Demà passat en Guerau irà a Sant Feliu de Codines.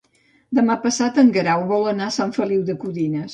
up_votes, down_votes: 0, 2